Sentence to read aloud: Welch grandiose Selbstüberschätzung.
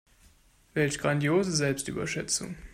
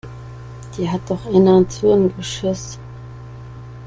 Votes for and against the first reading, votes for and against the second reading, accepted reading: 2, 0, 0, 2, first